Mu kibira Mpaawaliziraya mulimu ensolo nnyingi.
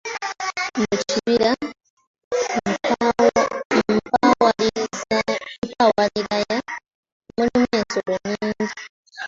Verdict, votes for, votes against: rejected, 0, 2